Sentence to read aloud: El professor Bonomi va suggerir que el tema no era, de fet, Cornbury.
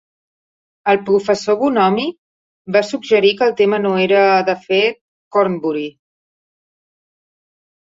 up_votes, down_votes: 1, 2